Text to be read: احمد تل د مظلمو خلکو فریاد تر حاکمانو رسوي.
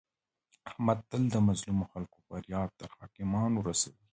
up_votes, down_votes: 2, 1